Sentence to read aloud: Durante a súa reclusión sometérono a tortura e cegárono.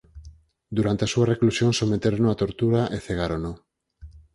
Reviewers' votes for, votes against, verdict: 4, 0, accepted